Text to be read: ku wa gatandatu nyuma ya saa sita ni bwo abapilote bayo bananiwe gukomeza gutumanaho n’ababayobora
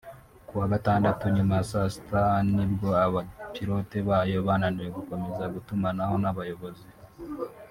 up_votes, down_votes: 0, 3